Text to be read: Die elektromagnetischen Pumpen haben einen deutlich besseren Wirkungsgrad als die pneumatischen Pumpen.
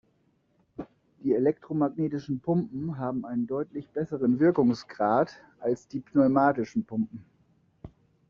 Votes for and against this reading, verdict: 2, 0, accepted